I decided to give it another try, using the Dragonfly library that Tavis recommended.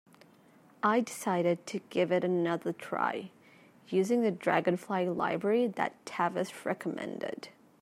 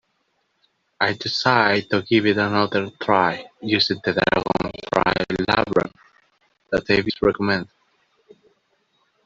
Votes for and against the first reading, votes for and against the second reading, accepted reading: 2, 0, 0, 3, first